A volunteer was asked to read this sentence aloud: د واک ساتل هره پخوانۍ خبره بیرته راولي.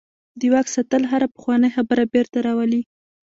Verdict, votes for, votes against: rejected, 1, 2